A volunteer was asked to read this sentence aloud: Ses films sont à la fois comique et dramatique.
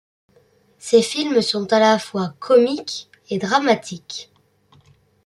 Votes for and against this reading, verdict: 3, 0, accepted